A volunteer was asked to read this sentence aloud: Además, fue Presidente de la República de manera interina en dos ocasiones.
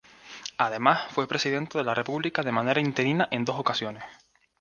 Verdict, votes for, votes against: accepted, 2, 0